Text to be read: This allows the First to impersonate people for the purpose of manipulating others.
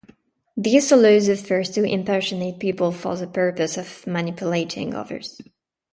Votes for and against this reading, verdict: 2, 0, accepted